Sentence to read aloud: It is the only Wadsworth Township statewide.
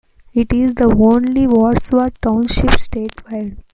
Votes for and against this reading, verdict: 2, 1, accepted